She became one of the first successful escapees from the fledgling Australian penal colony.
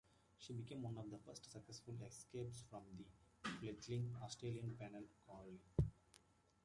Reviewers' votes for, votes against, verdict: 1, 2, rejected